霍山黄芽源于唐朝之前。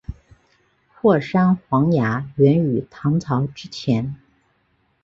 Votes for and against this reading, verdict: 2, 0, accepted